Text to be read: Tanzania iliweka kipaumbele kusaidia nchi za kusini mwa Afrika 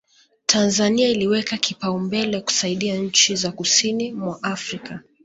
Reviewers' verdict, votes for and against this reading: accepted, 2, 0